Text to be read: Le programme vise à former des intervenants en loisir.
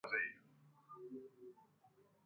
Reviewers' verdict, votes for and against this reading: rejected, 0, 2